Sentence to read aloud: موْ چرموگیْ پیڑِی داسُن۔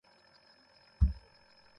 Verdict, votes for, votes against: rejected, 0, 2